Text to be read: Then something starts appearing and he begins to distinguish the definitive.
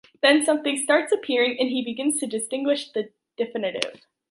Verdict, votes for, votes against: accepted, 3, 0